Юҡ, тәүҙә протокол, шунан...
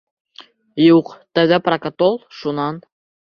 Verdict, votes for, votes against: rejected, 0, 2